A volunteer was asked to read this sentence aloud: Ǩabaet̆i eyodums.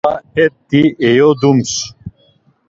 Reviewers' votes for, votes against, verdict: 0, 2, rejected